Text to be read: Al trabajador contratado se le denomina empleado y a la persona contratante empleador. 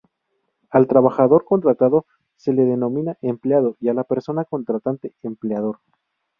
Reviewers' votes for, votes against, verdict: 2, 0, accepted